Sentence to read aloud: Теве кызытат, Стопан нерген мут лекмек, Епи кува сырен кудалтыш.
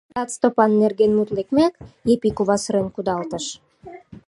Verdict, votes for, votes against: rejected, 0, 2